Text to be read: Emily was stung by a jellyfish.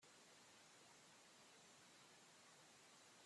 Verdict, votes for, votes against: rejected, 0, 2